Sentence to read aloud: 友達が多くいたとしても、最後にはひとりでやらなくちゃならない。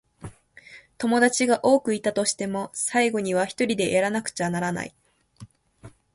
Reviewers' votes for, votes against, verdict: 2, 0, accepted